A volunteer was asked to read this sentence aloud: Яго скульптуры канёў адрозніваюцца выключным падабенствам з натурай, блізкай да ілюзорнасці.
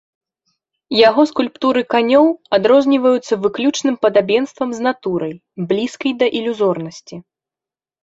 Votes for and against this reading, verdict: 2, 0, accepted